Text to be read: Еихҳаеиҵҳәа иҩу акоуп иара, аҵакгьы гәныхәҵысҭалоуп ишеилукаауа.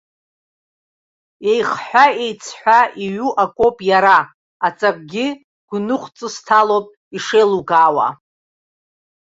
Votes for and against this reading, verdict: 2, 0, accepted